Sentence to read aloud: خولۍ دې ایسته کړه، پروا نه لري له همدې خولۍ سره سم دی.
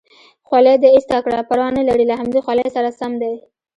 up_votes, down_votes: 2, 1